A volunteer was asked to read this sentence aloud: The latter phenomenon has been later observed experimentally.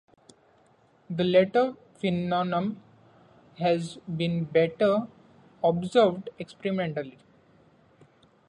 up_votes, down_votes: 0, 2